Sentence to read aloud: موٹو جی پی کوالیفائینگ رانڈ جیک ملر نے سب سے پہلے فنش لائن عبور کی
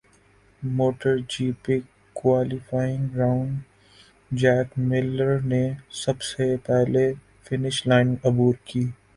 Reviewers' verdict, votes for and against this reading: rejected, 1, 3